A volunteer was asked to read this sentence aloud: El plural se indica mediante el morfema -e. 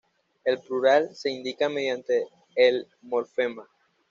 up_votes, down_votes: 1, 2